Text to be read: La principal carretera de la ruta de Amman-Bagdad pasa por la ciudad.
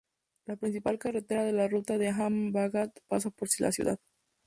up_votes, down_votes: 0, 2